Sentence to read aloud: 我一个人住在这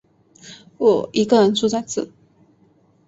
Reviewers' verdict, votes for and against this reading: rejected, 1, 2